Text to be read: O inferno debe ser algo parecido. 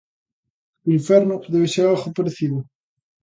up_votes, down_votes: 2, 0